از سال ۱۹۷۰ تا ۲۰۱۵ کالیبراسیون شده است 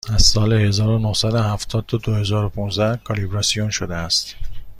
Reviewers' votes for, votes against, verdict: 0, 2, rejected